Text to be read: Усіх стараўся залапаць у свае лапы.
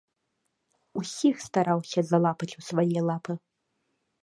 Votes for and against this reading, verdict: 2, 0, accepted